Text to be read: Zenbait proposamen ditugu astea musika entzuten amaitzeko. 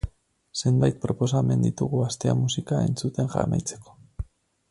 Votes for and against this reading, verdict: 0, 4, rejected